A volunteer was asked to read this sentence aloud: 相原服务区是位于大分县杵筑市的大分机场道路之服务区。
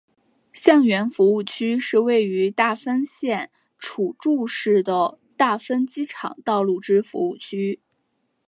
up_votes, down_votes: 4, 0